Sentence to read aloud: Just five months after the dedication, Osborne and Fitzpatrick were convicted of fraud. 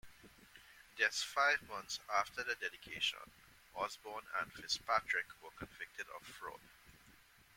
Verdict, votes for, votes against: accepted, 2, 0